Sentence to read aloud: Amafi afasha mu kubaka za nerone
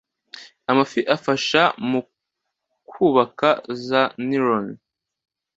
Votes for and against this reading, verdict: 2, 0, accepted